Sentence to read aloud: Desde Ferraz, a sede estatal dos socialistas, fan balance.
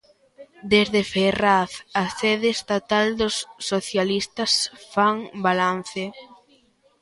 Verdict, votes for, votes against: rejected, 1, 2